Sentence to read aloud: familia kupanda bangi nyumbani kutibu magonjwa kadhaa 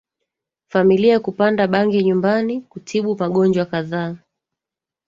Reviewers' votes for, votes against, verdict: 2, 1, accepted